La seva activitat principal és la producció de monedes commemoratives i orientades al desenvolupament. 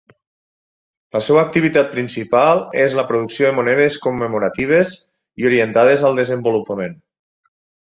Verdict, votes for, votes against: accepted, 6, 0